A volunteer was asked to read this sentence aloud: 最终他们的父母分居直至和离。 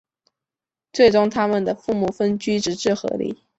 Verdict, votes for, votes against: accepted, 7, 0